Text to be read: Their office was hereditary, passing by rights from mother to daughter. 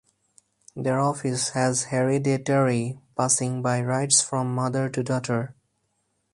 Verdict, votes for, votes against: rejected, 0, 2